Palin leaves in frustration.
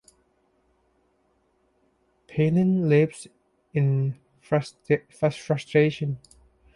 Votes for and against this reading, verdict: 0, 2, rejected